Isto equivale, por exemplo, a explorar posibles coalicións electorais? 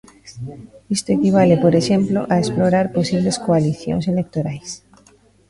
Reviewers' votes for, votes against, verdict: 1, 2, rejected